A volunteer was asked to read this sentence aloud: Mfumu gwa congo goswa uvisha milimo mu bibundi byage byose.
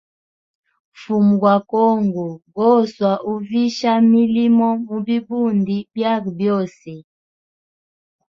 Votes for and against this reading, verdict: 2, 0, accepted